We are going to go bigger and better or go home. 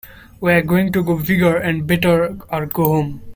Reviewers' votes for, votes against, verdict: 2, 0, accepted